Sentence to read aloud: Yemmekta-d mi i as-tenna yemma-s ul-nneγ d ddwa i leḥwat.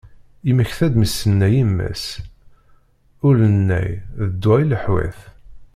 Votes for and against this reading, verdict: 0, 2, rejected